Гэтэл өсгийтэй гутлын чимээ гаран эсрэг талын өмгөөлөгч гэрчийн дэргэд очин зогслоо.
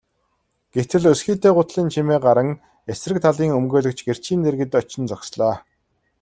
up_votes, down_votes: 2, 0